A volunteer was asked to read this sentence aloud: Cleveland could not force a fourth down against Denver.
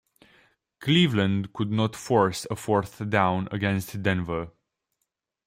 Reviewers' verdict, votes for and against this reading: accepted, 2, 0